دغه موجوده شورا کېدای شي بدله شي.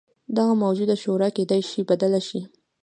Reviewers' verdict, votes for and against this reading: accepted, 2, 0